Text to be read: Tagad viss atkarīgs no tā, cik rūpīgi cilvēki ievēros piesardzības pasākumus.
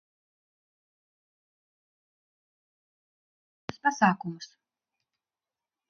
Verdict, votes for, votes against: rejected, 0, 2